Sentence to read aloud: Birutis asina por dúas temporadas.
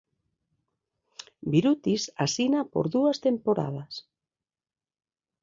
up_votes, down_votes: 2, 0